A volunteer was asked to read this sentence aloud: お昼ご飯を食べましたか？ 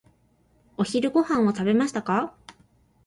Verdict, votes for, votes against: accepted, 3, 0